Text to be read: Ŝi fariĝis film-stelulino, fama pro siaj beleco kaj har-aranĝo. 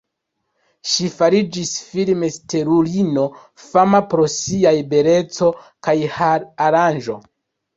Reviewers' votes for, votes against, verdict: 1, 2, rejected